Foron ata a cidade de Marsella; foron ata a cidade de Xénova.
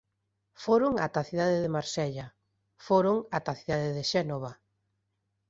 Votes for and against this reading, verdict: 2, 0, accepted